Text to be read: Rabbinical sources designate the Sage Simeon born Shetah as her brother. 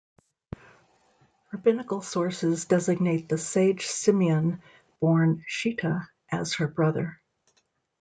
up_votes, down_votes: 2, 0